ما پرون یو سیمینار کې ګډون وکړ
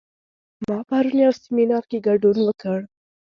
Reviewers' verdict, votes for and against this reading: accepted, 2, 0